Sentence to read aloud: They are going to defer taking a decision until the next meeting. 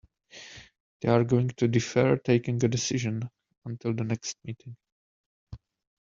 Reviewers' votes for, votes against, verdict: 2, 0, accepted